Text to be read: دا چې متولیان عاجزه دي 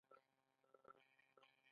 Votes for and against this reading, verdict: 1, 2, rejected